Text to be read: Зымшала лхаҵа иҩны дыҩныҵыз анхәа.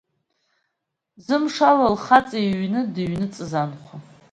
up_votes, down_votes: 2, 1